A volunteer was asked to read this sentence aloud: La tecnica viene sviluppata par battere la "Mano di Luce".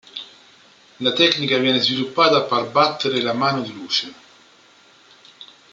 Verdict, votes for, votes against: accepted, 2, 0